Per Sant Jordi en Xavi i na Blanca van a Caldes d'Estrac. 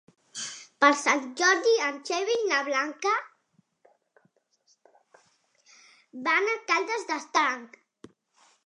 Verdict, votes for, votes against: rejected, 0, 2